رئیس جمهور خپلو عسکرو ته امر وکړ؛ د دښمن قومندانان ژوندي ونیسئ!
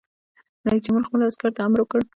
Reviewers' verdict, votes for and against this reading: rejected, 0, 2